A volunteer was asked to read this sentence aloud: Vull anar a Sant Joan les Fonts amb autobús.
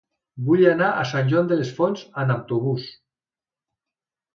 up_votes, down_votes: 1, 2